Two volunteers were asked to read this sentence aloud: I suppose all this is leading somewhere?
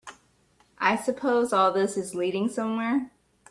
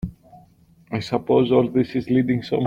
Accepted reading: first